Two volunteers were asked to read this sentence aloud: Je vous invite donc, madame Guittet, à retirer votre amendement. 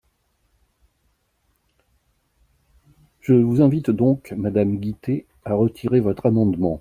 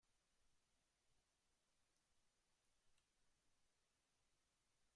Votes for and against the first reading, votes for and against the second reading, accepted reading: 2, 0, 0, 3, first